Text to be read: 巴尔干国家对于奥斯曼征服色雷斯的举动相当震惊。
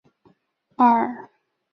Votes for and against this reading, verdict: 0, 2, rejected